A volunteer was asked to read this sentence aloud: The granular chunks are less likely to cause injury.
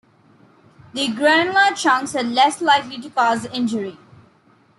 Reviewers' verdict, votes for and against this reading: accepted, 2, 0